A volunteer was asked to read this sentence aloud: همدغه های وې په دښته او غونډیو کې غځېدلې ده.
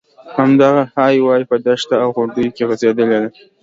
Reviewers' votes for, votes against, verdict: 2, 0, accepted